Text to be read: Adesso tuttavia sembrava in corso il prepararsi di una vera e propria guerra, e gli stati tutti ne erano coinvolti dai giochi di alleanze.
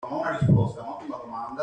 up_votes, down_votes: 0, 2